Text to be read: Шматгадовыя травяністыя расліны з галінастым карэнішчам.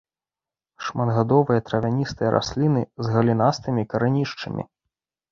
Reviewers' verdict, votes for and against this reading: rejected, 0, 3